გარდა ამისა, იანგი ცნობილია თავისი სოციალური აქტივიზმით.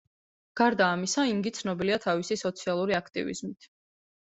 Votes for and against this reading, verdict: 0, 2, rejected